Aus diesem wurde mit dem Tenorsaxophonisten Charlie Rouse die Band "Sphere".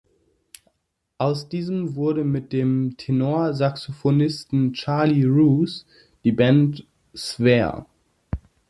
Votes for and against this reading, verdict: 4, 1, accepted